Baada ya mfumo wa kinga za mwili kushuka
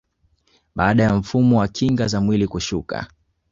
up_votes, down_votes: 2, 0